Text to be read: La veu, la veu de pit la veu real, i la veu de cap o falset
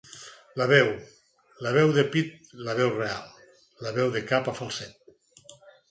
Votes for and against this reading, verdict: 4, 0, accepted